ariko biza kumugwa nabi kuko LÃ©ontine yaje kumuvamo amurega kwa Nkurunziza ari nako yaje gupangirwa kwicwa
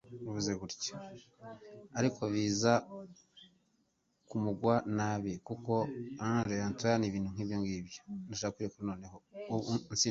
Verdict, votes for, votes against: rejected, 1, 2